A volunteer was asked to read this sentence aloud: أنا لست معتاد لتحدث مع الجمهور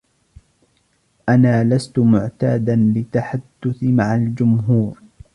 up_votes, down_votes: 1, 2